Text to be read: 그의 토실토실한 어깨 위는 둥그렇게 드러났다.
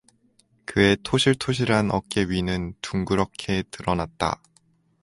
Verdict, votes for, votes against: accepted, 4, 0